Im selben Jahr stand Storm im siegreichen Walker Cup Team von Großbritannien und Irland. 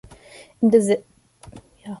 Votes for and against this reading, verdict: 0, 2, rejected